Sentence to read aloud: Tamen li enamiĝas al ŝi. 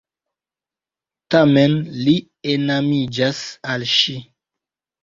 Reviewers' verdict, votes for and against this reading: accepted, 2, 1